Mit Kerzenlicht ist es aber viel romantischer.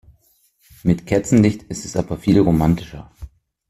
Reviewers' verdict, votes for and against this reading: accepted, 2, 0